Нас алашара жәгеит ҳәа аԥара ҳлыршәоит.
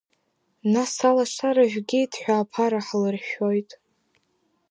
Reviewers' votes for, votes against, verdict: 3, 0, accepted